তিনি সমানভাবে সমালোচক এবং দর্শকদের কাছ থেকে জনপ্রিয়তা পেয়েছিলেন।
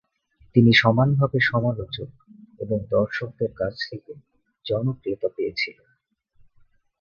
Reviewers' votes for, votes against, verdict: 2, 0, accepted